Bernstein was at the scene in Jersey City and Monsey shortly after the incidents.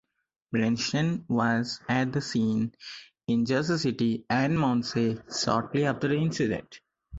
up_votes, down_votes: 0, 4